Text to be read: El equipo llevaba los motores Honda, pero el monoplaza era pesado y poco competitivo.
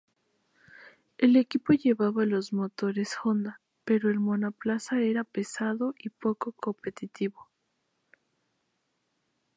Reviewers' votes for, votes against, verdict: 0, 2, rejected